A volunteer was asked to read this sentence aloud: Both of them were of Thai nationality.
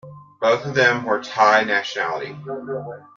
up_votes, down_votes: 2, 1